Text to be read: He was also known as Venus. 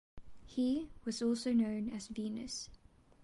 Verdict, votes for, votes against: accepted, 2, 0